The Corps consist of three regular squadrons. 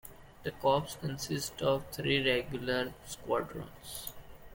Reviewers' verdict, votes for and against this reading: accepted, 2, 1